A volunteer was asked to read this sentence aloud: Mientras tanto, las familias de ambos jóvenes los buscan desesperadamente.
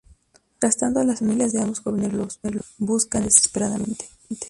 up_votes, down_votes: 0, 2